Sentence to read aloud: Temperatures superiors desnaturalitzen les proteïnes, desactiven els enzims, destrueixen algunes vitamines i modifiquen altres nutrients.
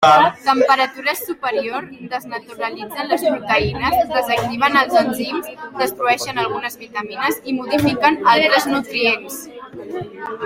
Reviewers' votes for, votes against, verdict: 3, 1, accepted